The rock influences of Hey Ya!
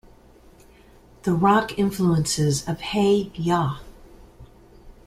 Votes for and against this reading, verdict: 2, 0, accepted